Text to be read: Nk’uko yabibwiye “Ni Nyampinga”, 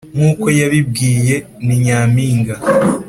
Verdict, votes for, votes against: accepted, 2, 0